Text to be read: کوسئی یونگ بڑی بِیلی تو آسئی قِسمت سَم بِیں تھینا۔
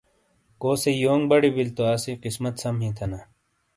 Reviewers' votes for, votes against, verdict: 2, 0, accepted